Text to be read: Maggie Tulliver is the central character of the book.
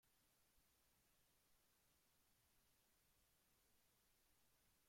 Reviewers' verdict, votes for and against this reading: rejected, 0, 2